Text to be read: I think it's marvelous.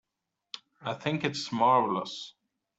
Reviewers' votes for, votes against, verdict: 2, 0, accepted